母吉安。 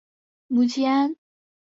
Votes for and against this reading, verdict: 4, 0, accepted